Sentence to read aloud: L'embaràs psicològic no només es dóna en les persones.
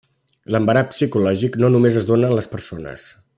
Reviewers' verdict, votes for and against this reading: rejected, 1, 2